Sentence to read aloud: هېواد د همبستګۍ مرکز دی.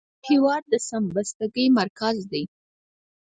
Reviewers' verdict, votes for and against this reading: rejected, 2, 4